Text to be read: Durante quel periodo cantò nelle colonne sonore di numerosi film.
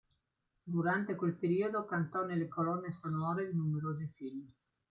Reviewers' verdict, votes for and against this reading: accepted, 2, 0